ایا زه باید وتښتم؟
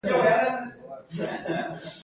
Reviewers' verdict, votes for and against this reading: rejected, 1, 2